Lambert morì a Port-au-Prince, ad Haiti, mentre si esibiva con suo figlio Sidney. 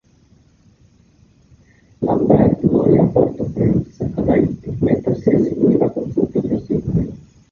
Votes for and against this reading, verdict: 0, 3, rejected